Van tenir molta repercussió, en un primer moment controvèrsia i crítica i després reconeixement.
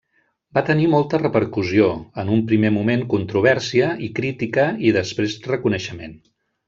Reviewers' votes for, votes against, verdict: 1, 2, rejected